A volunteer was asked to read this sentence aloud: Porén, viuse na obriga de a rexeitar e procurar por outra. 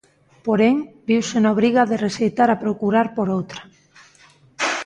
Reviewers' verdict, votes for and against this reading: rejected, 0, 2